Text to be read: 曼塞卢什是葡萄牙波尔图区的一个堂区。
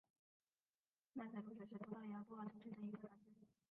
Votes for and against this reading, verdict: 2, 0, accepted